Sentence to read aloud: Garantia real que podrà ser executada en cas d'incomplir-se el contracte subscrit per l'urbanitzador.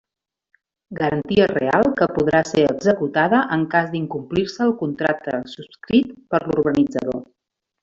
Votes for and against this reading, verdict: 1, 2, rejected